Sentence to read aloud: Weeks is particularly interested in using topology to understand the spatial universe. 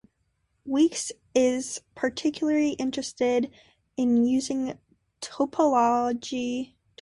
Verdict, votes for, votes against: rejected, 0, 2